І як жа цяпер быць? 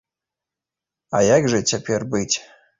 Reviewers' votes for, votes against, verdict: 1, 2, rejected